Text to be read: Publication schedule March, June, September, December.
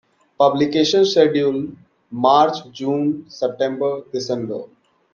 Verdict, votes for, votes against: accepted, 2, 0